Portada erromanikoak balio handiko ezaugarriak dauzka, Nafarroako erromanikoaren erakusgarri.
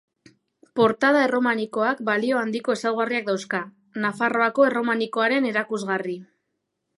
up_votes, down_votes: 7, 1